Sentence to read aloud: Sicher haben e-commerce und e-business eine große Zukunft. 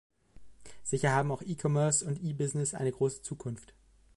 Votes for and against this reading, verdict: 0, 2, rejected